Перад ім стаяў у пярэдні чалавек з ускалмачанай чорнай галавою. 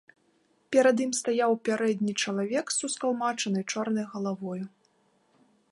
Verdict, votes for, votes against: accepted, 2, 0